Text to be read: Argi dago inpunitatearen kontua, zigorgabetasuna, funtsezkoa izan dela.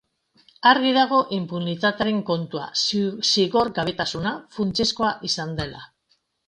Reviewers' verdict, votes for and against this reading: rejected, 1, 2